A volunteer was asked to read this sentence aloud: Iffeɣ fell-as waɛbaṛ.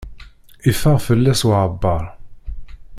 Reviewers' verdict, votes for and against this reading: rejected, 1, 2